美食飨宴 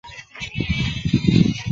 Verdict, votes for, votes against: rejected, 1, 3